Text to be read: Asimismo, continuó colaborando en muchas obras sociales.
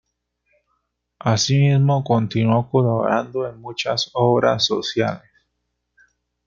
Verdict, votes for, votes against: rejected, 0, 2